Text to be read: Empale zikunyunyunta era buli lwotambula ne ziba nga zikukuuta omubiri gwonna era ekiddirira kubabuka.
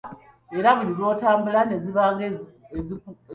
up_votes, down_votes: 0, 2